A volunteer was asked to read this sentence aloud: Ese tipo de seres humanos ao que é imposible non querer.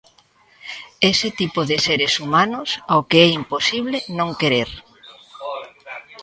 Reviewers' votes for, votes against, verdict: 1, 2, rejected